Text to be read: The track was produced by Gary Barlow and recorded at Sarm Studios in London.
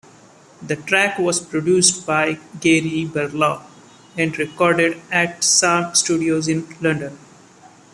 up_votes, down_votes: 2, 0